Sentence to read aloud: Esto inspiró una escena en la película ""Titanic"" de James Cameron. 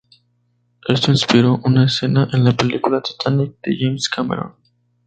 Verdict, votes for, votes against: accepted, 2, 0